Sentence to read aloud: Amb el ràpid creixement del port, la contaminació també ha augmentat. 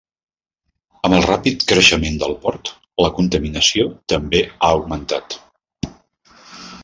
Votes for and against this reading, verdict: 3, 0, accepted